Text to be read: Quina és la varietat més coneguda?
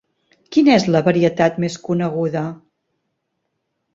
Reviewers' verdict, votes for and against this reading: accepted, 3, 0